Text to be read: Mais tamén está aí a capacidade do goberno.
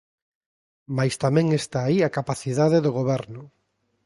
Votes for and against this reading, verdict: 2, 0, accepted